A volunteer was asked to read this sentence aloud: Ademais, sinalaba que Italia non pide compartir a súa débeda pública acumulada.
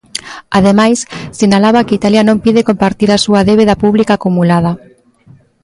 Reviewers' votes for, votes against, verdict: 2, 0, accepted